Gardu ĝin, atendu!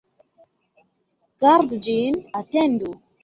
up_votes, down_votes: 2, 0